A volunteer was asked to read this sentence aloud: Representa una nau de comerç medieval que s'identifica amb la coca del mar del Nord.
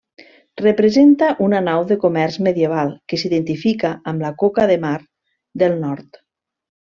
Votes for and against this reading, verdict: 1, 2, rejected